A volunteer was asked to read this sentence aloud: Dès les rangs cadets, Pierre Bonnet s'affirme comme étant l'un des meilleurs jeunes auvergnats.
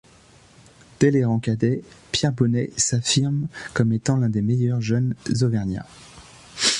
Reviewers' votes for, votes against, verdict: 2, 0, accepted